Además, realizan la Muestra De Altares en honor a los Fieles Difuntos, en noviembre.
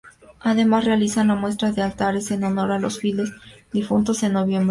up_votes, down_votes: 0, 2